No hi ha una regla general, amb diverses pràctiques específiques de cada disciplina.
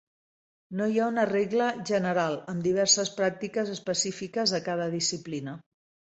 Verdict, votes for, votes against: accepted, 2, 0